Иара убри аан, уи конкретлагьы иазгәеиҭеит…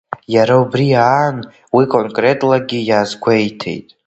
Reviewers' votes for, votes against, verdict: 3, 1, accepted